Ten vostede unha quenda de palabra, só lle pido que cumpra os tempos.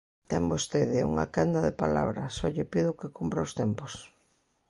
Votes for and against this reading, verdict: 2, 0, accepted